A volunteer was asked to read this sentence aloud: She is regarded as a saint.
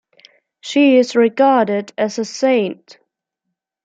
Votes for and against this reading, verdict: 2, 0, accepted